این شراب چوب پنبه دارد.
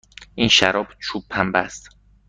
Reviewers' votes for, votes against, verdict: 1, 2, rejected